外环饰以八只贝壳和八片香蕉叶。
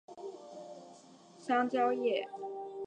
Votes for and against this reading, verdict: 0, 3, rejected